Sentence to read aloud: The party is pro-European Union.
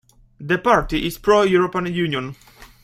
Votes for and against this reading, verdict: 2, 1, accepted